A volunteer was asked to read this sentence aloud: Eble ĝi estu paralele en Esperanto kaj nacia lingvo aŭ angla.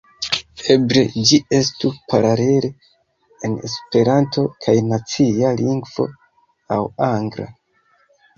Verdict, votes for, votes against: rejected, 1, 2